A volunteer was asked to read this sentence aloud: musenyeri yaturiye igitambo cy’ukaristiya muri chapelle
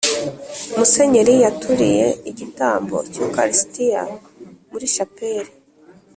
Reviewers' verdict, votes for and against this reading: accepted, 2, 0